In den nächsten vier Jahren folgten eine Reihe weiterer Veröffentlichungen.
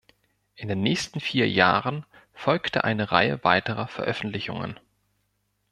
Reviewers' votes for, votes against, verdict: 1, 2, rejected